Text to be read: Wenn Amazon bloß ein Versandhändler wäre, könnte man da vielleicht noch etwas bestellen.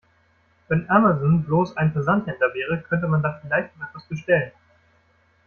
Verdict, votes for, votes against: rejected, 0, 2